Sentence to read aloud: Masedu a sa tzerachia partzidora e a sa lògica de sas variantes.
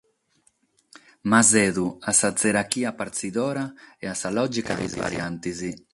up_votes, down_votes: 6, 0